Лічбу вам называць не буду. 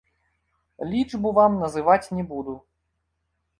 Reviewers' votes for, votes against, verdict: 0, 2, rejected